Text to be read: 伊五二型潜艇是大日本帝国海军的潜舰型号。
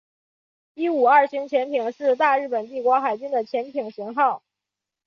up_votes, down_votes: 2, 0